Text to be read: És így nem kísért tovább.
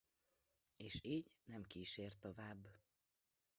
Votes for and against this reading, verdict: 2, 1, accepted